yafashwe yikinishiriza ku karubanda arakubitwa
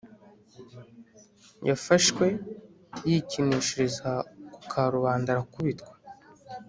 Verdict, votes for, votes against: accepted, 2, 0